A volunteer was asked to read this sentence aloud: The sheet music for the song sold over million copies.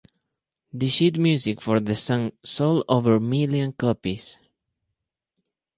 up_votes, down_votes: 0, 2